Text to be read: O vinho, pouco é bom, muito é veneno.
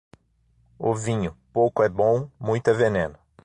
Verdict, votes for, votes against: accepted, 6, 0